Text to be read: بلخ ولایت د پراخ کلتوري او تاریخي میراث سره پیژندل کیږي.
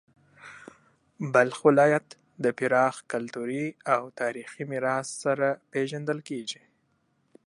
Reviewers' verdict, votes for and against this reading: accepted, 2, 0